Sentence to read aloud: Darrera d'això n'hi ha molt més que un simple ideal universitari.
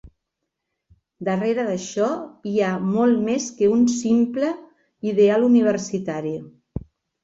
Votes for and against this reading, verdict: 1, 2, rejected